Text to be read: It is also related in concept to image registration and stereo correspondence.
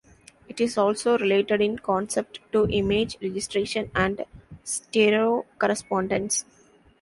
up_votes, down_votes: 2, 0